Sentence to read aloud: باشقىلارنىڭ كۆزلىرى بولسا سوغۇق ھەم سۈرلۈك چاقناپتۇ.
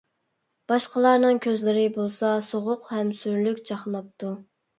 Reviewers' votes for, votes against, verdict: 2, 0, accepted